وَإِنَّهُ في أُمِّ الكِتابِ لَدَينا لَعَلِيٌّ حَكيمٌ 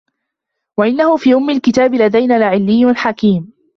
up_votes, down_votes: 2, 3